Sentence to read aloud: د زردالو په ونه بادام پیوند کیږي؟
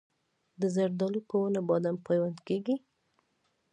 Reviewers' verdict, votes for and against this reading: accepted, 2, 0